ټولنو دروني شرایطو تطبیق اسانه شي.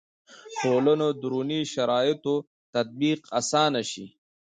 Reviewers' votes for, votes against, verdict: 1, 2, rejected